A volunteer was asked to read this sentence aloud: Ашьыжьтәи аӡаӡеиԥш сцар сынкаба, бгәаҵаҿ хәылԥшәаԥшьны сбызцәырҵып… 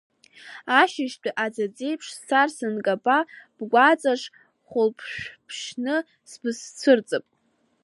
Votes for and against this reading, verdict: 2, 0, accepted